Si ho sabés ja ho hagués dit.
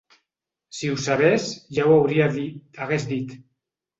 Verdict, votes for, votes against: rejected, 0, 2